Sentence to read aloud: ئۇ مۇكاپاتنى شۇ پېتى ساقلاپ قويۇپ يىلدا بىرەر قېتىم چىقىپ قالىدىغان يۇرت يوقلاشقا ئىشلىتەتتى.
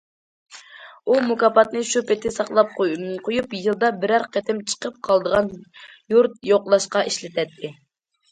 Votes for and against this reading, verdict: 2, 0, accepted